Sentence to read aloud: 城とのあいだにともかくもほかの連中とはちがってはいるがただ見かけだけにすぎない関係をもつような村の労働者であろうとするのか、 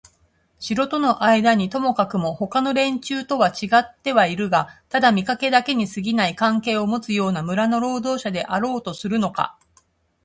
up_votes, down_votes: 2, 2